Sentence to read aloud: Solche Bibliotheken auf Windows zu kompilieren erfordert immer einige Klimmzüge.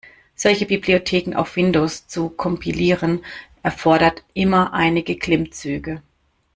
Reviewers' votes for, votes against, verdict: 2, 0, accepted